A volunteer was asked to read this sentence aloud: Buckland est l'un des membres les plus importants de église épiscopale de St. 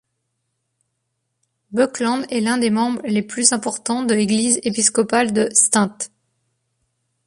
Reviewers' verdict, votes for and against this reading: rejected, 1, 2